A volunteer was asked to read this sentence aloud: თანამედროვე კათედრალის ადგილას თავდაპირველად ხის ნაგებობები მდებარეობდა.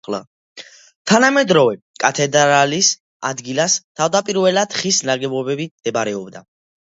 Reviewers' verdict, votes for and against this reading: accepted, 2, 1